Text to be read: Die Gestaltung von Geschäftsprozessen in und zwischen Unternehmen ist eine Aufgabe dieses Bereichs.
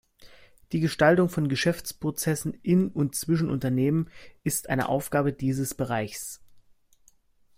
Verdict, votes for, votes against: accepted, 2, 0